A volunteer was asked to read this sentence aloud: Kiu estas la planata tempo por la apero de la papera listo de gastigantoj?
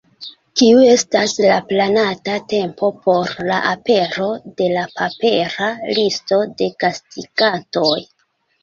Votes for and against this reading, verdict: 2, 0, accepted